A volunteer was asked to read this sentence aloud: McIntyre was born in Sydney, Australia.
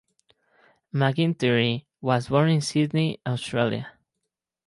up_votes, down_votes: 0, 4